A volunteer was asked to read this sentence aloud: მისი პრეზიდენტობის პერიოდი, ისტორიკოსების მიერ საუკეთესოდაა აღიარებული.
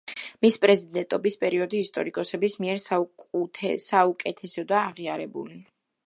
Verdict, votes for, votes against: rejected, 0, 2